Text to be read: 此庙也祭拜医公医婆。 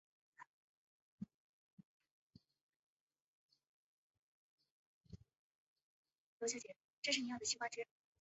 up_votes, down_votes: 0, 4